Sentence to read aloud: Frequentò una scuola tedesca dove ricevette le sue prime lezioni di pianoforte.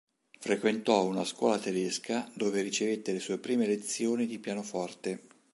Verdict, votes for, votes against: accepted, 2, 0